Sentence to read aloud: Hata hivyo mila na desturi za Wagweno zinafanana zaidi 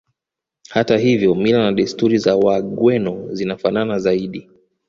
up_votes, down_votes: 2, 1